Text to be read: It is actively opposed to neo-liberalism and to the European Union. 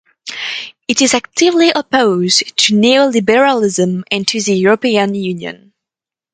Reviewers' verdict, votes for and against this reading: accepted, 4, 0